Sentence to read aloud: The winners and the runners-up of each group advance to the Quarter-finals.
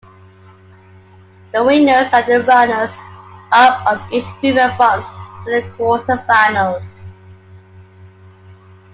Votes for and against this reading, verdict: 0, 2, rejected